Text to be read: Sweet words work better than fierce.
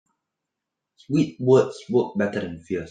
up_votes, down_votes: 1, 2